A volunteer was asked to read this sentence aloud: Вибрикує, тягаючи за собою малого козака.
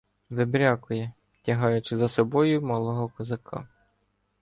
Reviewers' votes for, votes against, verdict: 1, 2, rejected